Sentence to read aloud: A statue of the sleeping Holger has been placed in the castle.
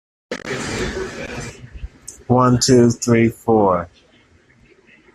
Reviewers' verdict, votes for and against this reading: rejected, 0, 2